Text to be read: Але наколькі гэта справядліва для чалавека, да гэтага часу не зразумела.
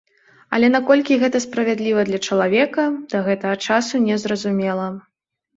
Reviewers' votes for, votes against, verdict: 2, 0, accepted